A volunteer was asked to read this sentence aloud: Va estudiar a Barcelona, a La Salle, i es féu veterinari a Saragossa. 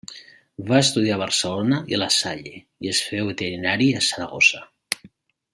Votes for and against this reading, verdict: 0, 2, rejected